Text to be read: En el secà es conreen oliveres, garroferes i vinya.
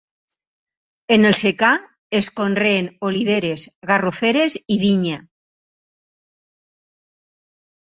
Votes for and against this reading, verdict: 6, 0, accepted